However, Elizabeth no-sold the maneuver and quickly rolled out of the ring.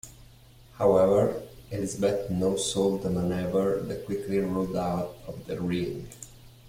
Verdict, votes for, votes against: rejected, 1, 2